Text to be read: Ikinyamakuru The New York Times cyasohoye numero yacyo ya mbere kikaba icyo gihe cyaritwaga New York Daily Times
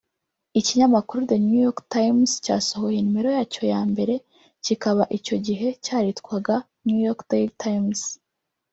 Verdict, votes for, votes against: rejected, 1, 2